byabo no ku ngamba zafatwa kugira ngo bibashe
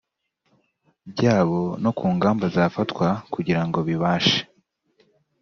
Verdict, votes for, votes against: accepted, 2, 0